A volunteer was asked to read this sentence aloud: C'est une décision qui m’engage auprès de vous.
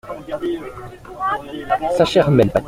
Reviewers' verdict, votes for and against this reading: rejected, 0, 2